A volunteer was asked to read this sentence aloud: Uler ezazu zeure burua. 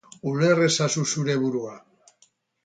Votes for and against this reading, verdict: 0, 2, rejected